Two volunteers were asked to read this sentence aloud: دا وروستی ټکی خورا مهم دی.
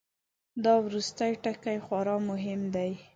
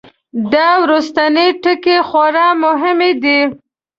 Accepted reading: first